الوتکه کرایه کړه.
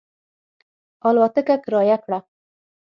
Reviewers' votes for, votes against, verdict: 3, 6, rejected